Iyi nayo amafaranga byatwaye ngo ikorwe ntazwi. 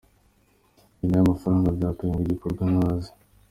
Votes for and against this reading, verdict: 2, 0, accepted